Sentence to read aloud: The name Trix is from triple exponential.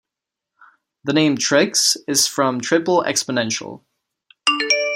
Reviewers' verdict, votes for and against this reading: accepted, 2, 0